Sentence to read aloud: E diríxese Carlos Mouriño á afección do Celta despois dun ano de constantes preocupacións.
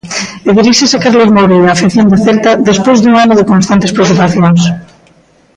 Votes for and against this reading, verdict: 0, 2, rejected